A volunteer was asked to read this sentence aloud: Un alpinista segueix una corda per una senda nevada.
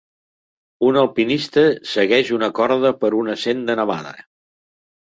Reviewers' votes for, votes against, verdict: 2, 0, accepted